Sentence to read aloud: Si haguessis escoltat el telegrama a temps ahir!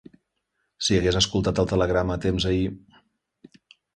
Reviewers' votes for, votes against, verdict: 2, 3, rejected